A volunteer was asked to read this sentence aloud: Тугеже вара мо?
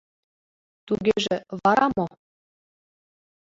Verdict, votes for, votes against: accepted, 2, 1